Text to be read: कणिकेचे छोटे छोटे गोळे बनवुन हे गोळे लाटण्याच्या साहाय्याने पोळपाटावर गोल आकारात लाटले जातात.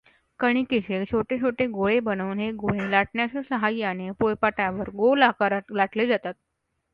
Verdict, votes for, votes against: accepted, 2, 1